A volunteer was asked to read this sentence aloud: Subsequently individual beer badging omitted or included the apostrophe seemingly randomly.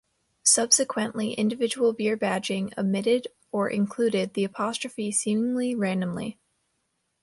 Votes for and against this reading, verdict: 2, 0, accepted